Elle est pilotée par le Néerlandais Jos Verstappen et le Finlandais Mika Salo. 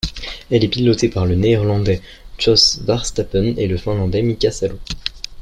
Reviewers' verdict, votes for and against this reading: rejected, 0, 2